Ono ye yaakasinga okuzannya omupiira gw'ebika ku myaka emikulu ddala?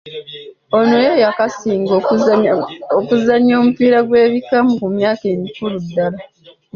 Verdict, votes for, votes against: rejected, 1, 2